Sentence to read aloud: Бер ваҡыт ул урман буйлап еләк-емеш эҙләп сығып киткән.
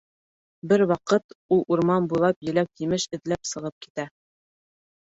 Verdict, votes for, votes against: rejected, 2, 3